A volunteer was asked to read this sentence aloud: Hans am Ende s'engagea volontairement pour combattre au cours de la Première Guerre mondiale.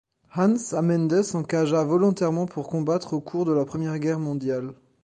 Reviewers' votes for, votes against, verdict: 2, 0, accepted